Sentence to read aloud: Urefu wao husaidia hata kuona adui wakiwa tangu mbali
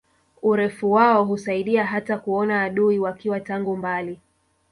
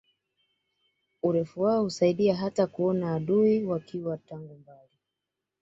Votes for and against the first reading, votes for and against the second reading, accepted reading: 1, 2, 2, 0, second